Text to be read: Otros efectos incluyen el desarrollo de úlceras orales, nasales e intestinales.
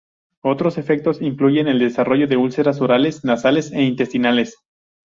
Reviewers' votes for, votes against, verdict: 2, 0, accepted